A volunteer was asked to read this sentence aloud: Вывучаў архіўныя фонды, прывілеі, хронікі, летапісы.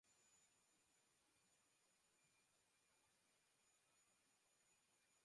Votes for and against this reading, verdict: 1, 2, rejected